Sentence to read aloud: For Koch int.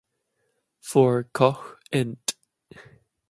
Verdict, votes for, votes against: accepted, 2, 0